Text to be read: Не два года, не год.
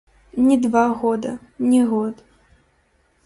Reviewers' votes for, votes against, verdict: 1, 2, rejected